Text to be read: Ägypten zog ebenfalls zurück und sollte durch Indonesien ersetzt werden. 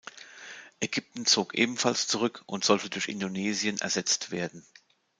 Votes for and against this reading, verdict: 2, 0, accepted